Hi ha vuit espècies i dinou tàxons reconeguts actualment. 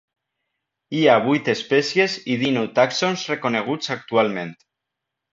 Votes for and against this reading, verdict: 2, 0, accepted